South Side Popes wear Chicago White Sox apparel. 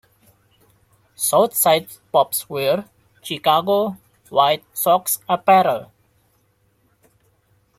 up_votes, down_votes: 1, 2